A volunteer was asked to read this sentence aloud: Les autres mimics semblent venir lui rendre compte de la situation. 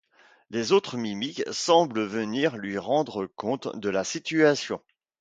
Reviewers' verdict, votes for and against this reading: accepted, 2, 0